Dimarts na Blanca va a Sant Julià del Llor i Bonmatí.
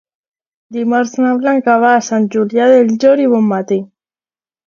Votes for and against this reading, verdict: 2, 0, accepted